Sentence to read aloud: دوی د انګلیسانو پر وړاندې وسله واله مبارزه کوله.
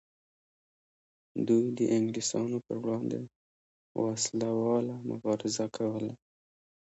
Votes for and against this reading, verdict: 1, 2, rejected